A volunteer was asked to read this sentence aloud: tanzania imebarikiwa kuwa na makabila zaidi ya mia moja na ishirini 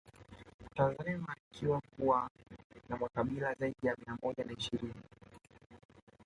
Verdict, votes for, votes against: rejected, 1, 2